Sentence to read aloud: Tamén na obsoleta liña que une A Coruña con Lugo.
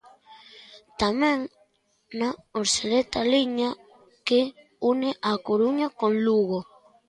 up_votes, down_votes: 2, 0